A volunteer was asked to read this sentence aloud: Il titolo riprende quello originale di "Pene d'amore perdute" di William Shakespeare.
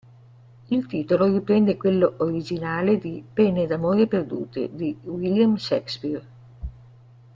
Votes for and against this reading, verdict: 1, 2, rejected